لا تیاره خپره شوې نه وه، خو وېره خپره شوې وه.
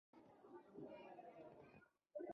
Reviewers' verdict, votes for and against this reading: rejected, 1, 2